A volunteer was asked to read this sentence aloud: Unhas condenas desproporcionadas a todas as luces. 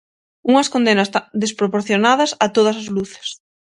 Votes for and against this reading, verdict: 0, 6, rejected